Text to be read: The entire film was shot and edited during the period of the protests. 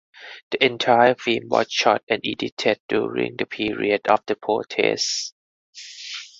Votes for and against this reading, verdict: 4, 0, accepted